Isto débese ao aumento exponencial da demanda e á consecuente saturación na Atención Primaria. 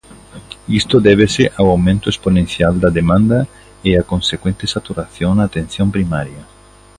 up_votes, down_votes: 2, 0